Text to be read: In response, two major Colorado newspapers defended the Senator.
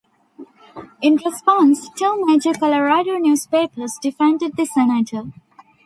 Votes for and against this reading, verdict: 2, 0, accepted